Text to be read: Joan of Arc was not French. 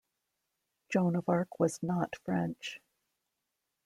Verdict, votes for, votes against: accepted, 2, 0